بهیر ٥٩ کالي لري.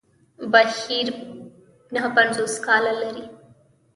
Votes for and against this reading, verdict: 0, 2, rejected